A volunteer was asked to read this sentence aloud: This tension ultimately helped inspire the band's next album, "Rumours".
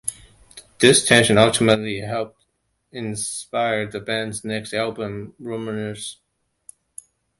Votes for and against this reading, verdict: 2, 1, accepted